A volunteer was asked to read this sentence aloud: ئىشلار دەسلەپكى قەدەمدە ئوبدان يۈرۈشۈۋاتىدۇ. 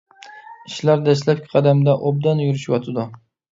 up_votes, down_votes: 2, 0